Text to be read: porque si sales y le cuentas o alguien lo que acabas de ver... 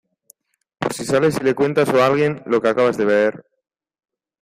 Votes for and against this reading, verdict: 0, 2, rejected